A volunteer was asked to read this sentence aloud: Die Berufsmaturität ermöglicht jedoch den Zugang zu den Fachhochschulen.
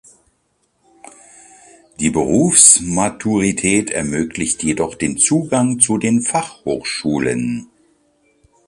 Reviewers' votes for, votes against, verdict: 2, 0, accepted